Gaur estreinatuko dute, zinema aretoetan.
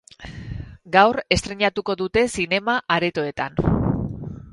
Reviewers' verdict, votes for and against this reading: rejected, 0, 2